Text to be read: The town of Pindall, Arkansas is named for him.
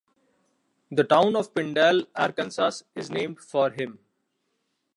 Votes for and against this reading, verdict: 3, 1, accepted